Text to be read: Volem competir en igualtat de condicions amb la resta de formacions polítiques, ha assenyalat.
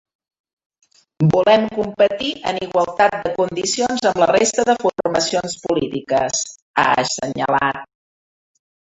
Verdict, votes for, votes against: accepted, 2, 1